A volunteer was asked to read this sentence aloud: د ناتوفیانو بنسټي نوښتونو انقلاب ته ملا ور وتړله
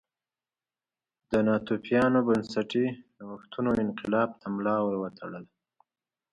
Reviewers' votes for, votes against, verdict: 2, 0, accepted